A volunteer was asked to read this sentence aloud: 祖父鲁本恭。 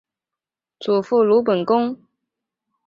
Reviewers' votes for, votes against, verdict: 3, 0, accepted